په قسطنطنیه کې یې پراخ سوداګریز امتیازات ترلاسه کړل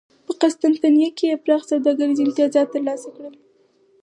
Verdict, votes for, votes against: accepted, 4, 2